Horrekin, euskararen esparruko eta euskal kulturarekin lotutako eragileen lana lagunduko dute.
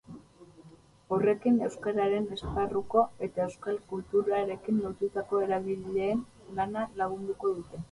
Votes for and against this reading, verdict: 2, 0, accepted